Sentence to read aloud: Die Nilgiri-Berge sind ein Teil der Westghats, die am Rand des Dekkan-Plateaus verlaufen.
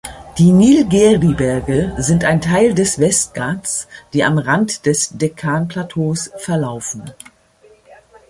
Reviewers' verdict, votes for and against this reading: rejected, 0, 2